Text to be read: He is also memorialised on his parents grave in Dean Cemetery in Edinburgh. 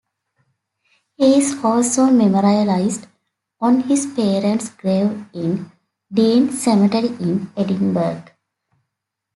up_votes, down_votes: 1, 2